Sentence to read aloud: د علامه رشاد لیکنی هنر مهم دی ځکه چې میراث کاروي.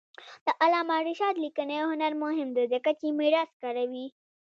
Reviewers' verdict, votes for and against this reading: rejected, 1, 2